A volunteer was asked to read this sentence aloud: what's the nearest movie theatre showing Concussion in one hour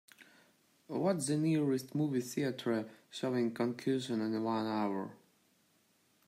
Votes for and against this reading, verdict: 1, 2, rejected